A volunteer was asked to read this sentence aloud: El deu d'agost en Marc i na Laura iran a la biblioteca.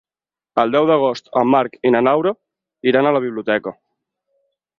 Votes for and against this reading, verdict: 2, 4, rejected